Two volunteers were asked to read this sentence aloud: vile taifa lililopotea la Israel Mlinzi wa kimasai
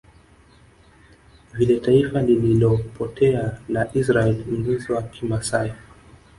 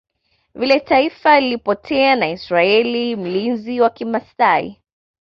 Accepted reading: second